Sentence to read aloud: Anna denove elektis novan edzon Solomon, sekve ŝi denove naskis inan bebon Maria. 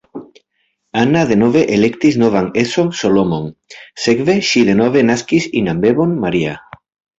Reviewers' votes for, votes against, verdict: 2, 1, accepted